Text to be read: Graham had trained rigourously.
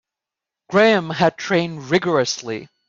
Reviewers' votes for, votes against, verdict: 2, 0, accepted